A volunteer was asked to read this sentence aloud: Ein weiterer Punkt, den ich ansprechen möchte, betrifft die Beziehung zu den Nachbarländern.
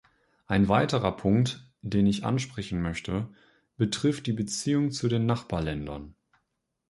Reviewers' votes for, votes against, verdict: 2, 0, accepted